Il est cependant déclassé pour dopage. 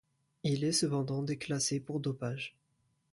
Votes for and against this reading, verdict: 2, 0, accepted